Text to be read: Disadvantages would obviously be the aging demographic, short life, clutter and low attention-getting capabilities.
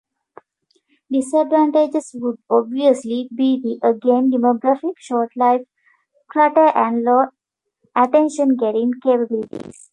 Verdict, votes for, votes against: rejected, 0, 2